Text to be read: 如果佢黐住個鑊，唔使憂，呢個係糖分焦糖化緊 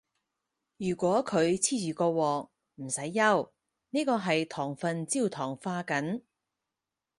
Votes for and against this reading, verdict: 4, 2, accepted